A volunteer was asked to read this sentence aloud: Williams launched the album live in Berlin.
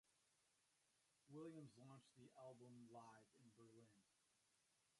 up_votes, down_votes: 0, 2